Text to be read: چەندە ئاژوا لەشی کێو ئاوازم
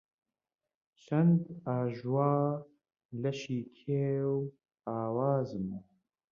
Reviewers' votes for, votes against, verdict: 0, 2, rejected